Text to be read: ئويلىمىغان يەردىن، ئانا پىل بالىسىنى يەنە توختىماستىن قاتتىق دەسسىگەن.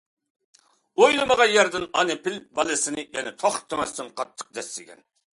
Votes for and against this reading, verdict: 2, 0, accepted